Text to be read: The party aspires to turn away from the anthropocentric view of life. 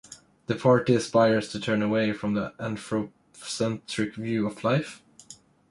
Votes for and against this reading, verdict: 1, 2, rejected